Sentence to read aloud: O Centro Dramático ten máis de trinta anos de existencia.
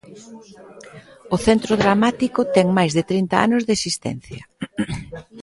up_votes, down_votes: 1, 2